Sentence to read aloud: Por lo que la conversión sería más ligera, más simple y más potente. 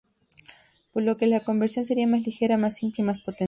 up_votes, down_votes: 0, 2